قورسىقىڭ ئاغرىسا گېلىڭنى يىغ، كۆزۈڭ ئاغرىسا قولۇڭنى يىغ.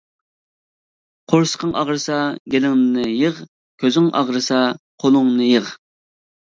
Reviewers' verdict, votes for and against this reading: accepted, 2, 0